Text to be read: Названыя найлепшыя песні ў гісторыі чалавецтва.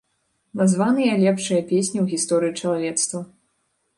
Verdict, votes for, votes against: rejected, 0, 2